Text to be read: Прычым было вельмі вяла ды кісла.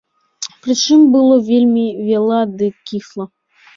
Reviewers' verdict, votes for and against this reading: rejected, 0, 2